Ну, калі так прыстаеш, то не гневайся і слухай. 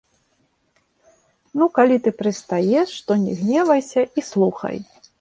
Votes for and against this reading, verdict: 1, 2, rejected